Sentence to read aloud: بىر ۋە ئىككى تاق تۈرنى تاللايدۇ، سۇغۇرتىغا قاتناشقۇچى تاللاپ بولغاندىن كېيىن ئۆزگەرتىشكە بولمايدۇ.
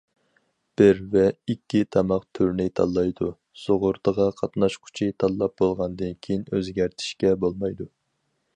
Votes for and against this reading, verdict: 0, 2, rejected